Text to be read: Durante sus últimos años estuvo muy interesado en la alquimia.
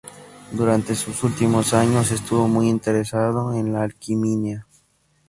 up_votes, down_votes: 0, 2